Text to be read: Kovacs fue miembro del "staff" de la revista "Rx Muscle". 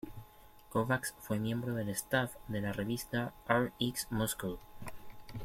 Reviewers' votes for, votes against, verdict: 2, 1, accepted